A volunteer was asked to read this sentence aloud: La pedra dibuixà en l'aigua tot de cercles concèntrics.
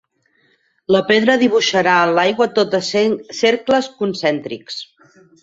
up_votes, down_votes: 0, 4